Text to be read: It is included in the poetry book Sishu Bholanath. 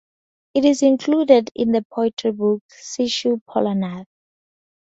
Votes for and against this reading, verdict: 0, 4, rejected